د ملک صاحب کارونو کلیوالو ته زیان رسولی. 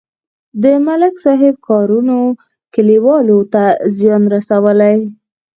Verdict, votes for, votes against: accepted, 8, 0